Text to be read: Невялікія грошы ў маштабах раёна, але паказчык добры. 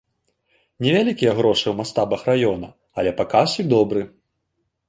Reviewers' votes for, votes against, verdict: 1, 2, rejected